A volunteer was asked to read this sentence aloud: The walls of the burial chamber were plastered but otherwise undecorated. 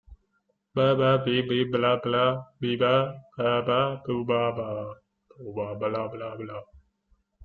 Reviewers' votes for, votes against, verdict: 0, 2, rejected